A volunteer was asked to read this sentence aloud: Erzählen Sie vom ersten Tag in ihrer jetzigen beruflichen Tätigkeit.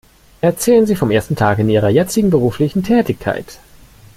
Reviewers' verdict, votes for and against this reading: accepted, 2, 0